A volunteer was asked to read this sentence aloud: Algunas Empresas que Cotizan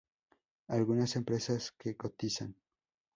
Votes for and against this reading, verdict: 0, 2, rejected